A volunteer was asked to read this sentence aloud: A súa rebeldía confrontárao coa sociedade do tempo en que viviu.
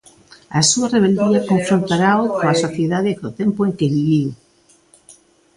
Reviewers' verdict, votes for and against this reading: rejected, 1, 2